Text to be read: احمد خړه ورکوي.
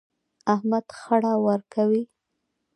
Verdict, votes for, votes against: accepted, 2, 0